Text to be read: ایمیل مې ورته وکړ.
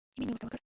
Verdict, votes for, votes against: rejected, 1, 2